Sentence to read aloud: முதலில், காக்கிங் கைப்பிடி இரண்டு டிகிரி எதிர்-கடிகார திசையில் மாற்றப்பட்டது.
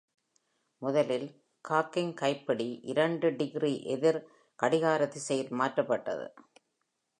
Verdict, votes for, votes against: accepted, 2, 0